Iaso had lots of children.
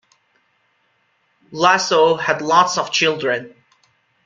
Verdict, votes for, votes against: accepted, 2, 0